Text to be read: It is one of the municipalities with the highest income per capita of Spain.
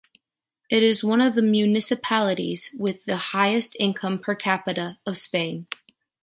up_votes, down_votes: 2, 0